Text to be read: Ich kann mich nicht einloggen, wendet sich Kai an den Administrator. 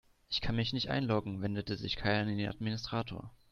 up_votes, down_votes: 0, 2